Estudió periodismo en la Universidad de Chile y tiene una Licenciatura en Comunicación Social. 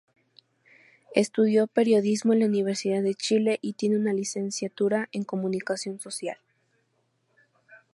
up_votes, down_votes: 4, 0